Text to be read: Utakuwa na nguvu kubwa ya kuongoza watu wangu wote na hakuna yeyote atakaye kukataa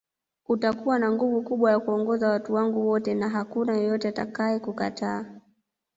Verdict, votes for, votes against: rejected, 1, 2